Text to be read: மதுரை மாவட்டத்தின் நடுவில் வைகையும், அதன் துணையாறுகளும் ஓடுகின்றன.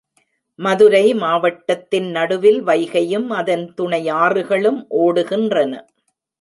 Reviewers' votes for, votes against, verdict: 2, 0, accepted